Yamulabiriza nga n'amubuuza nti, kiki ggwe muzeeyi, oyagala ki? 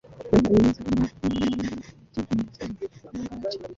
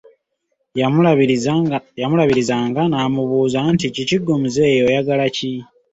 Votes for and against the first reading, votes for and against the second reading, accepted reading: 0, 2, 2, 0, second